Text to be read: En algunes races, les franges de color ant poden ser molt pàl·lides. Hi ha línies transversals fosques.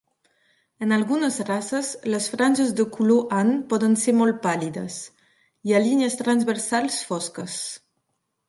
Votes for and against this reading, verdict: 2, 0, accepted